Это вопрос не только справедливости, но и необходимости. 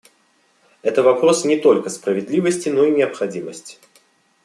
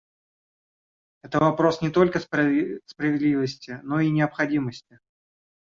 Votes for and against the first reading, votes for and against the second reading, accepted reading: 2, 0, 0, 2, first